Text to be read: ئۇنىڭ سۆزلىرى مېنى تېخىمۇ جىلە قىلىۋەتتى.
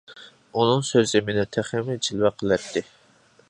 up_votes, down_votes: 0, 2